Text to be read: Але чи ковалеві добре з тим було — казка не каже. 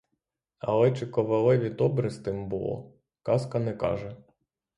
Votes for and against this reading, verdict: 6, 0, accepted